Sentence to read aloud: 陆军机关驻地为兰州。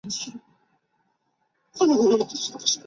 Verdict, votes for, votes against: rejected, 1, 3